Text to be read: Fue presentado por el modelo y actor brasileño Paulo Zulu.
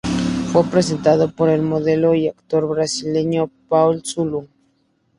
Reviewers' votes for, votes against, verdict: 2, 0, accepted